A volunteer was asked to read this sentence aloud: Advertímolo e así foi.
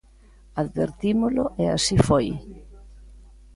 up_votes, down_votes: 2, 0